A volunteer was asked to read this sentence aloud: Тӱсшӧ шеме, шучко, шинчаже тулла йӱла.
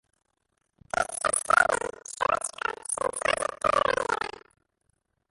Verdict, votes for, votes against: rejected, 0, 2